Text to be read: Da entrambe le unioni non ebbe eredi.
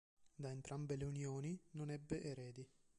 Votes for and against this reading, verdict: 2, 1, accepted